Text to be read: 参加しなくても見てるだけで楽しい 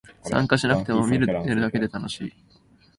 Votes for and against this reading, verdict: 6, 8, rejected